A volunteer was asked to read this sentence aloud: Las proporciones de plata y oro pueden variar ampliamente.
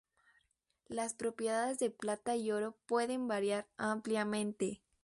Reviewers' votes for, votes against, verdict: 0, 4, rejected